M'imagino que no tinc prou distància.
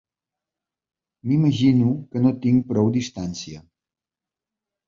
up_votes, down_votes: 4, 1